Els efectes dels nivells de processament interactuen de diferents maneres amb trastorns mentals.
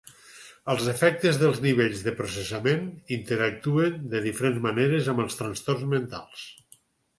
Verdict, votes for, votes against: rejected, 0, 4